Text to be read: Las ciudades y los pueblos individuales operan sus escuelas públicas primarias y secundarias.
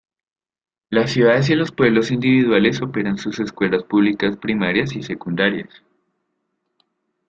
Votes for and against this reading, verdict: 2, 0, accepted